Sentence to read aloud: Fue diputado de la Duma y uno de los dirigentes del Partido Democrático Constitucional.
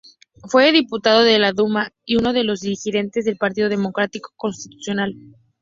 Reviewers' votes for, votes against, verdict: 2, 0, accepted